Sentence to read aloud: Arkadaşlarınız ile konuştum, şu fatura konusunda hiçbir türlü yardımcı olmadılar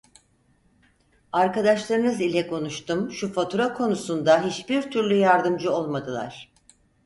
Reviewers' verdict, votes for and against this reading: accepted, 4, 0